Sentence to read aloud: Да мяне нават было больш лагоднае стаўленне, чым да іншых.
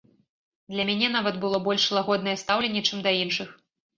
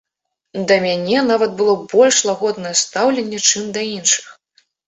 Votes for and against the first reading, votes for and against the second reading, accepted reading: 1, 2, 2, 0, second